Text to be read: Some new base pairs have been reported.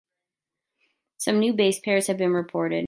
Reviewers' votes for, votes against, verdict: 2, 0, accepted